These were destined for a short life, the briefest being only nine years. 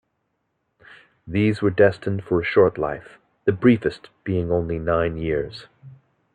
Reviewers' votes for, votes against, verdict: 2, 0, accepted